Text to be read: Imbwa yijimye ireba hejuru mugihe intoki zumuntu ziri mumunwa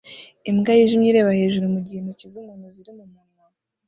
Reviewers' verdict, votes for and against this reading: rejected, 1, 2